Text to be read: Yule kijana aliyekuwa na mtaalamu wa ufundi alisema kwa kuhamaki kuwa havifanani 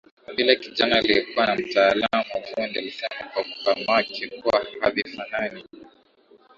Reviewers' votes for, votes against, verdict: 2, 0, accepted